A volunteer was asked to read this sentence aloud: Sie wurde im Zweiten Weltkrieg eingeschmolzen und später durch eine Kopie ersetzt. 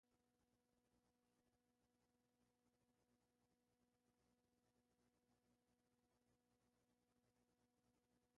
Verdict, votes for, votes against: rejected, 0, 2